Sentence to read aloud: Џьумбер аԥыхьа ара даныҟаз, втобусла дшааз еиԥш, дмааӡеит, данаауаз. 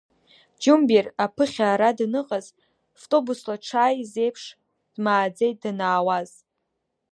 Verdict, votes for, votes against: accepted, 2, 1